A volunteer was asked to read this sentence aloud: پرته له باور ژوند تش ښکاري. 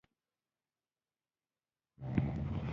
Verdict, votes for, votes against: rejected, 1, 2